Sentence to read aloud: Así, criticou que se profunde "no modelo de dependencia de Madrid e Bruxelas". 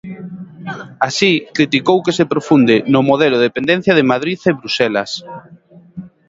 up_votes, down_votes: 2, 1